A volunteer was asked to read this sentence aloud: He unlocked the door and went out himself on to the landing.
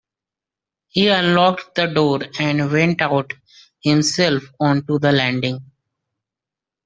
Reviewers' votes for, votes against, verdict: 2, 1, accepted